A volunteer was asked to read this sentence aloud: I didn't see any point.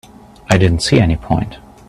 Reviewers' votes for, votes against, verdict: 3, 0, accepted